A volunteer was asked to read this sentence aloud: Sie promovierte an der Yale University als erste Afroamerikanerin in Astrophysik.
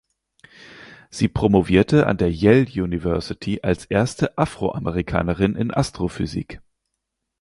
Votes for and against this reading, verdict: 4, 0, accepted